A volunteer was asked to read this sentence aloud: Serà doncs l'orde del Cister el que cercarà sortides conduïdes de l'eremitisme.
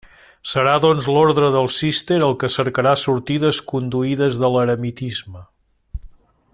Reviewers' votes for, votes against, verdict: 1, 2, rejected